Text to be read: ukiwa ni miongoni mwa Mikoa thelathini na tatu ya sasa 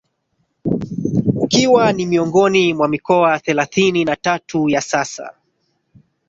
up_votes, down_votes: 3, 1